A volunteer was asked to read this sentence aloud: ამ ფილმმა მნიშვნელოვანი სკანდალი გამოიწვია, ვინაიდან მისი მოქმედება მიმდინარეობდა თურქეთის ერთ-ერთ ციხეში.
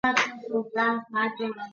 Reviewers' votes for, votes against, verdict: 0, 2, rejected